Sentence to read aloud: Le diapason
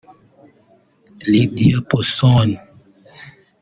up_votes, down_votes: 0, 2